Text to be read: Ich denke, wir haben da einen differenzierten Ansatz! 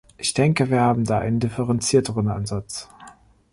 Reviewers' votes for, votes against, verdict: 0, 2, rejected